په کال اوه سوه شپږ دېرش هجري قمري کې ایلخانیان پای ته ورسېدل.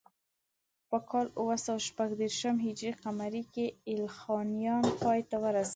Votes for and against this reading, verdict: 1, 2, rejected